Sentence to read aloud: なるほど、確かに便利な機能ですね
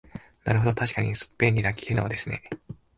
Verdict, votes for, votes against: accepted, 3, 0